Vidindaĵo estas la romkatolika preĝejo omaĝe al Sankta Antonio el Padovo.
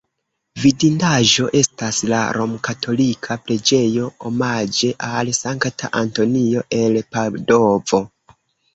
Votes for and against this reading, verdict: 1, 2, rejected